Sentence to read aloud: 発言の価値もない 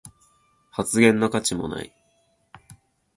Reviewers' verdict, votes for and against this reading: accepted, 2, 0